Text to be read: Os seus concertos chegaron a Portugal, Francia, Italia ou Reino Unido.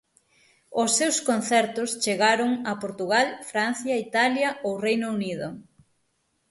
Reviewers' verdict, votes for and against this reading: accepted, 6, 0